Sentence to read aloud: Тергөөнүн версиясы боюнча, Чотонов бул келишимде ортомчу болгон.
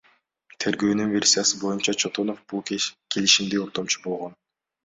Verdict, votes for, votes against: rejected, 1, 2